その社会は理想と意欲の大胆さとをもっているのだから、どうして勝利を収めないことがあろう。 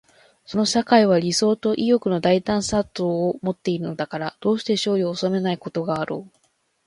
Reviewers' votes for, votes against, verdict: 2, 3, rejected